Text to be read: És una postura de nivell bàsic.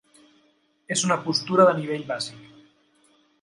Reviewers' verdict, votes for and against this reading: accepted, 3, 0